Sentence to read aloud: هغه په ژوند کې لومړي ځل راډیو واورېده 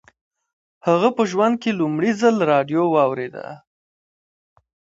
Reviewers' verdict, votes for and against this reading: rejected, 1, 2